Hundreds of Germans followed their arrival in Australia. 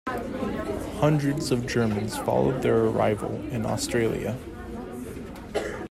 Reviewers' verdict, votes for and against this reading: accepted, 2, 0